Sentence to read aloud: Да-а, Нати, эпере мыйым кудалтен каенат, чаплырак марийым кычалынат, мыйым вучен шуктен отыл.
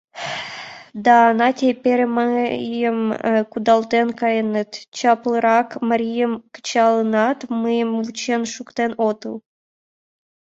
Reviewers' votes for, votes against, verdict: 1, 2, rejected